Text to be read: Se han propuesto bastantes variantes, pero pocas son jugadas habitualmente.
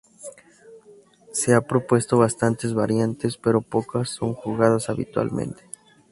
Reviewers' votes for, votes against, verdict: 0, 2, rejected